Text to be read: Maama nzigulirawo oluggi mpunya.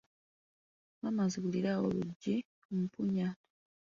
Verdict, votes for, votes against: rejected, 1, 2